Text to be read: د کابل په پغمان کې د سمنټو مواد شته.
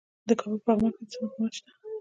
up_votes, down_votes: 2, 0